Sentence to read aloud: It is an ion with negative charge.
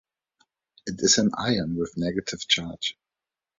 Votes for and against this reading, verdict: 2, 0, accepted